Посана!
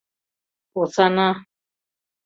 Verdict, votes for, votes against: accepted, 2, 0